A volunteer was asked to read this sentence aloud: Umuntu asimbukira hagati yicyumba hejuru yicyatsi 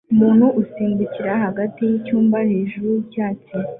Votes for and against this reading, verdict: 2, 1, accepted